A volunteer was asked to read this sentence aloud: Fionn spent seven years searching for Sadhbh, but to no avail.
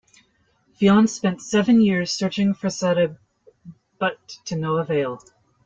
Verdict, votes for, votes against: accepted, 2, 0